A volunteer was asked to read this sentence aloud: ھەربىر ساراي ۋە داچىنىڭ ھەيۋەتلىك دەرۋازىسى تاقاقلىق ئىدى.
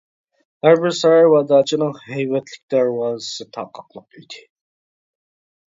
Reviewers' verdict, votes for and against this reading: rejected, 0, 2